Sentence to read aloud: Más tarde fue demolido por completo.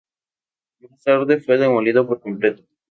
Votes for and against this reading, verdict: 0, 2, rejected